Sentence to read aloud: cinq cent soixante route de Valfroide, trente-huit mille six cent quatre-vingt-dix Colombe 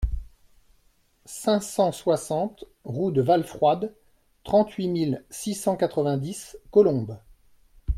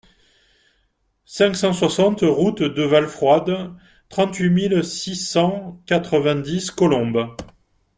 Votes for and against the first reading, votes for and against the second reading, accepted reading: 0, 2, 2, 0, second